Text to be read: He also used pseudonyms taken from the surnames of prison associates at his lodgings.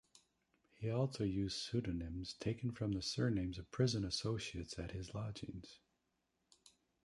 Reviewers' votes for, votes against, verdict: 1, 2, rejected